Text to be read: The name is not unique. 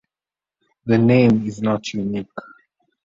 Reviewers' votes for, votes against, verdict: 2, 0, accepted